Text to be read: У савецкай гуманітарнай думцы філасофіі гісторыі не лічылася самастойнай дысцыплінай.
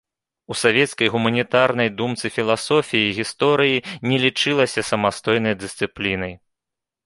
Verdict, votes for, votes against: accepted, 2, 0